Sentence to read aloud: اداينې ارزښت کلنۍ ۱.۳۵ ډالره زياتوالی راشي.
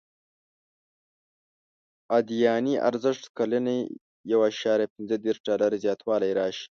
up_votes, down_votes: 0, 2